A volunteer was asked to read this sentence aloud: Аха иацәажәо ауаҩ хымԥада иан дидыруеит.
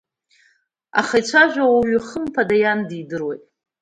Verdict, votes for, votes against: accepted, 2, 0